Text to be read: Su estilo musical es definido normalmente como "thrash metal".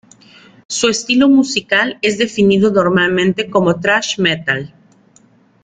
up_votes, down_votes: 2, 0